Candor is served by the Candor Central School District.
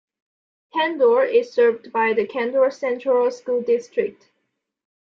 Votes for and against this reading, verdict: 2, 1, accepted